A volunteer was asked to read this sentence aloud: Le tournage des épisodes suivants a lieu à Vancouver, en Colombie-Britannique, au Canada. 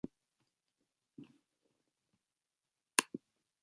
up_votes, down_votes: 0, 2